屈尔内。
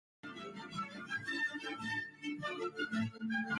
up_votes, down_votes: 0, 2